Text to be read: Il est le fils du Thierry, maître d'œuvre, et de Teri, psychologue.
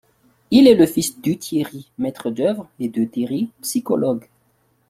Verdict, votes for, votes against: accepted, 2, 1